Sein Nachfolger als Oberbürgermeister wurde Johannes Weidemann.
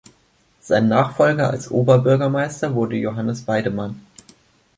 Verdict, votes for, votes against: accepted, 2, 0